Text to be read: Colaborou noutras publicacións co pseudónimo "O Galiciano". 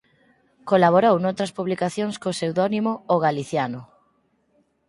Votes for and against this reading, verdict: 4, 0, accepted